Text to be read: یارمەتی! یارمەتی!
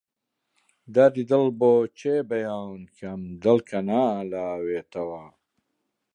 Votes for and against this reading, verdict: 0, 2, rejected